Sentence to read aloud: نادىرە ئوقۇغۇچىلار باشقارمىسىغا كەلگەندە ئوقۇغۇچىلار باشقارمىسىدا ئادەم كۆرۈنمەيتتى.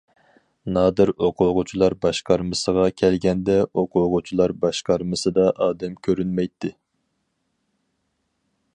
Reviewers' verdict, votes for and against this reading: rejected, 2, 2